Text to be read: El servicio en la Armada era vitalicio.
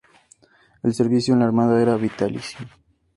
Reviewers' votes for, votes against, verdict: 2, 0, accepted